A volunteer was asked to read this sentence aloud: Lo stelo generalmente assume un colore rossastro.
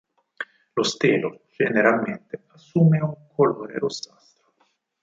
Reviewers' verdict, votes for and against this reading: accepted, 4, 2